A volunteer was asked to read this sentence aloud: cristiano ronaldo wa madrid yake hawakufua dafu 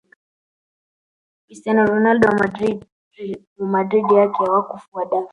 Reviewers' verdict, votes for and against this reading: rejected, 1, 2